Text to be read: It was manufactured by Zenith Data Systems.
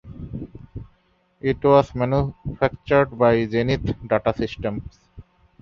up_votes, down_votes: 2, 0